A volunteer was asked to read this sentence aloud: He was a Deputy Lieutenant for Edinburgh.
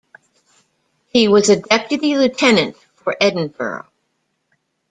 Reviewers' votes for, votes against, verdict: 2, 1, accepted